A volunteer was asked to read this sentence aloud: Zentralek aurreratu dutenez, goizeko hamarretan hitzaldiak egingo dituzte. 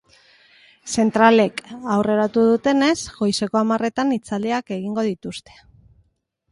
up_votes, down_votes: 2, 0